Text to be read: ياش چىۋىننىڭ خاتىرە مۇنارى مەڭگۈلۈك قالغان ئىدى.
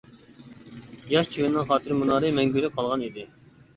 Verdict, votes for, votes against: accepted, 2, 0